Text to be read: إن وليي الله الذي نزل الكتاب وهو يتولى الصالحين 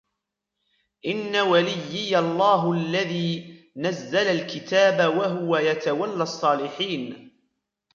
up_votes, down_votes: 2, 1